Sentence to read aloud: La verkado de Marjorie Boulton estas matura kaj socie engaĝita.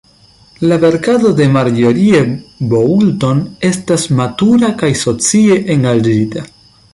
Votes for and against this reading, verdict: 0, 2, rejected